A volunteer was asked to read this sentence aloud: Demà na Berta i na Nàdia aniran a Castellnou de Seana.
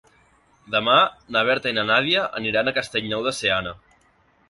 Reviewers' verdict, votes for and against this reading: accepted, 3, 0